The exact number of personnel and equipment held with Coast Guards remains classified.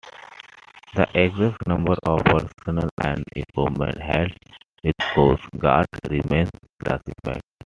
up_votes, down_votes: 2, 0